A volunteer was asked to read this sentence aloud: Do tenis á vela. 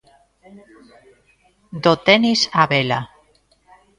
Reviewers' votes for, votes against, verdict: 2, 1, accepted